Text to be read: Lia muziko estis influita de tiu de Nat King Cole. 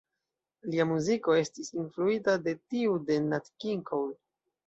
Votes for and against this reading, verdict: 0, 2, rejected